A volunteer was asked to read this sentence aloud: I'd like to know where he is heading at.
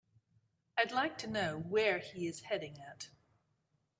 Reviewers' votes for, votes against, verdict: 2, 0, accepted